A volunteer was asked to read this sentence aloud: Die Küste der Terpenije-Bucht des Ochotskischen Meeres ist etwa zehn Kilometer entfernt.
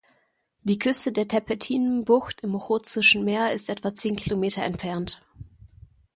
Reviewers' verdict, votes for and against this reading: rejected, 0, 2